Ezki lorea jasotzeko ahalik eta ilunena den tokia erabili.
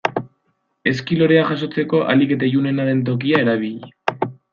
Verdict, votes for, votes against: accepted, 2, 0